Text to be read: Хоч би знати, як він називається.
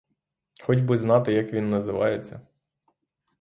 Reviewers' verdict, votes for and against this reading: rejected, 0, 3